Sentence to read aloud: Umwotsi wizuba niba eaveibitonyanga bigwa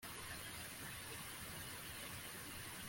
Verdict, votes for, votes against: rejected, 1, 2